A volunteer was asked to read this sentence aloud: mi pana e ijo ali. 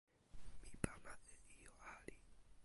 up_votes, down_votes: 1, 2